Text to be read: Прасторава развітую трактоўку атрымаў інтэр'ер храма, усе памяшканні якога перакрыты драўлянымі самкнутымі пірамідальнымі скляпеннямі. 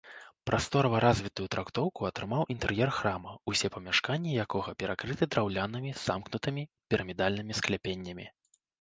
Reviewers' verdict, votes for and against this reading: rejected, 1, 2